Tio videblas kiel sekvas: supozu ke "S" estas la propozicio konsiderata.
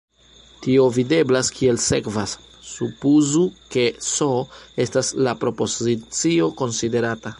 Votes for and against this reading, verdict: 0, 2, rejected